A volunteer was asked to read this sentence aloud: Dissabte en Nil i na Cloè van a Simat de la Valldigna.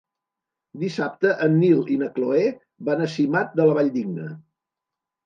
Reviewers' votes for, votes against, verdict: 5, 0, accepted